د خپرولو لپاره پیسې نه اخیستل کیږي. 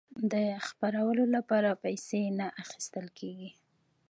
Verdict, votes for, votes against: rejected, 1, 2